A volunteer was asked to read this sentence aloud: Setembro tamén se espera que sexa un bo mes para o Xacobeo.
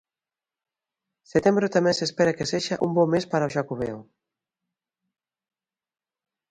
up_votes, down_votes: 3, 0